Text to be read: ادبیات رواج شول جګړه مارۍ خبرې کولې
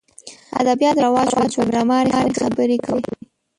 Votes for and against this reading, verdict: 0, 2, rejected